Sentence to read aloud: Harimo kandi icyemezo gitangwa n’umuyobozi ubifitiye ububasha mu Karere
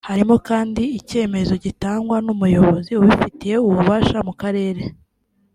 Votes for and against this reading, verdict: 2, 0, accepted